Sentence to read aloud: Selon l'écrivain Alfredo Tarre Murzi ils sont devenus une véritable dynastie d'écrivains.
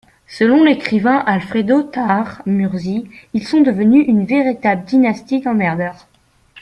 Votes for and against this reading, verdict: 1, 2, rejected